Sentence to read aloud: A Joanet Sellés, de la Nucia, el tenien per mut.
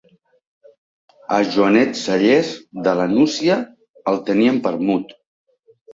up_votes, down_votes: 1, 2